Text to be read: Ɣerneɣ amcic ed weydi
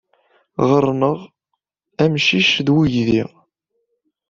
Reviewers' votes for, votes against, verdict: 2, 0, accepted